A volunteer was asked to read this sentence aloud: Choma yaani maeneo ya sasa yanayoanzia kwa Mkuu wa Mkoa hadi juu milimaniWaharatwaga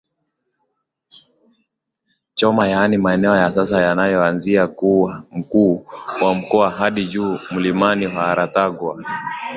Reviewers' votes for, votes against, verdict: 3, 2, accepted